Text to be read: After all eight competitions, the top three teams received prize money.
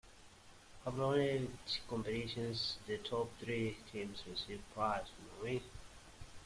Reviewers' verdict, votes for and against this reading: rejected, 0, 2